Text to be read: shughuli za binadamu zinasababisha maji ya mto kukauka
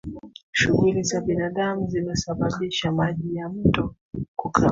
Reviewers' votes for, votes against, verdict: 1, 2, rejected